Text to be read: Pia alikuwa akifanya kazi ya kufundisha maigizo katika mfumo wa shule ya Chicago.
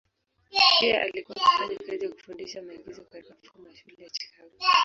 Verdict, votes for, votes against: rejected, 0, 2